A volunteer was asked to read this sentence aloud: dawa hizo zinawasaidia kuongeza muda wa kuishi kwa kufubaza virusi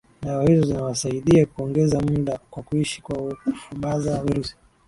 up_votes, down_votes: 2, 0